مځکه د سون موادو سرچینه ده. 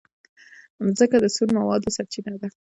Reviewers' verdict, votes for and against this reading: rejected, 1, 2